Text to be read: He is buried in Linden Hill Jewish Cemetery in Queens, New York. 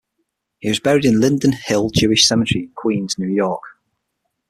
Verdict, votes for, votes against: accepted, 6, 0